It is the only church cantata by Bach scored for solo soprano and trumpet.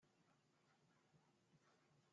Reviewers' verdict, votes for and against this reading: rejected, 1, 2